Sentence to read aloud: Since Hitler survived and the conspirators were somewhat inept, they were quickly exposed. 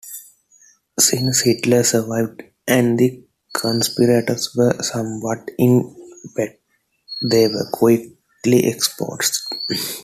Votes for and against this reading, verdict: 2, 0, accepted